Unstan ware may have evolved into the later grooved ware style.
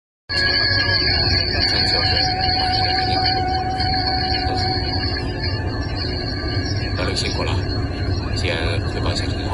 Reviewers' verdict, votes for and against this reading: rejected, 0, 3